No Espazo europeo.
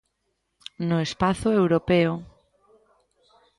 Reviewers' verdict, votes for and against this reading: accepted, 2, 0